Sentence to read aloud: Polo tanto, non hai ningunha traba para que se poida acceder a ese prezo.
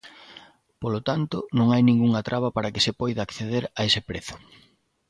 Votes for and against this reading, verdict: 2, 0, accepted